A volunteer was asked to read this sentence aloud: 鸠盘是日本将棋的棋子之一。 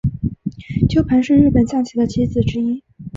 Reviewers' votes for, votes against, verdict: 2, 0, accepted